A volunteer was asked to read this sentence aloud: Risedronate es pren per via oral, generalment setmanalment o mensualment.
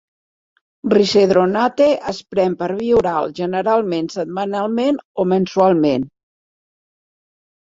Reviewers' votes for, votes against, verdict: 2, 0, accepted